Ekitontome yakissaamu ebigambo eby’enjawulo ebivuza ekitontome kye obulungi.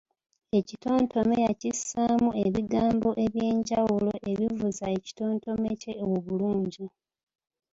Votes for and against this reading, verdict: 2, 0, accepted